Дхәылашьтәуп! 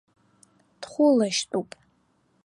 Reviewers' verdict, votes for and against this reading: accepted, 2, 0